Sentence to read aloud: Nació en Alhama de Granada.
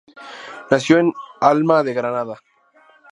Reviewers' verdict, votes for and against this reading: rejected, 0, 2